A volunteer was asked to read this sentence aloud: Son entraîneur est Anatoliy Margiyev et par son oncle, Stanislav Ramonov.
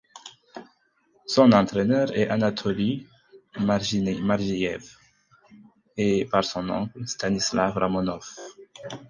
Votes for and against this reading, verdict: 0, 4, rejected